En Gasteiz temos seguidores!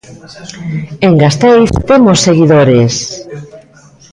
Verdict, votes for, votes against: rejected, 1, 2